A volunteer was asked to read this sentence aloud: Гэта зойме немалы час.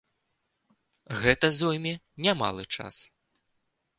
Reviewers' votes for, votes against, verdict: 1, 2, rejected